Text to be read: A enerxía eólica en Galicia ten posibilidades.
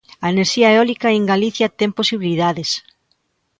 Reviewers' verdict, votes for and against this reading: accepted, 2, 0